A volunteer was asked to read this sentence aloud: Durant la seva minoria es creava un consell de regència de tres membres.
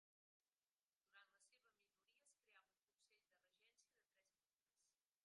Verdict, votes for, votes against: rejected, 0, 2